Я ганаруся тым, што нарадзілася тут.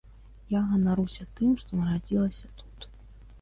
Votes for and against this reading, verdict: 2, 0, accepted